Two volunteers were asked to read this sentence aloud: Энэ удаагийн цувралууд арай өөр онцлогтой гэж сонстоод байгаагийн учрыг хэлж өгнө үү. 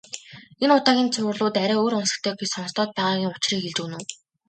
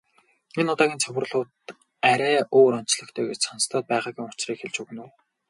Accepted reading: first